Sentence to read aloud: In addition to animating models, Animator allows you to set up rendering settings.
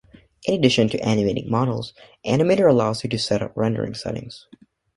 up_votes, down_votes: 2, 0